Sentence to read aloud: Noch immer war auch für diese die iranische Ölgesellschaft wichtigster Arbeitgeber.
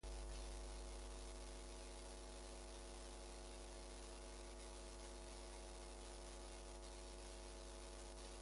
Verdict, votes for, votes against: rejected, 0, 2